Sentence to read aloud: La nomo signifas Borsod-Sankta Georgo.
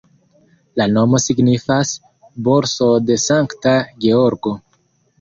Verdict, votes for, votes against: accepted, 2, 0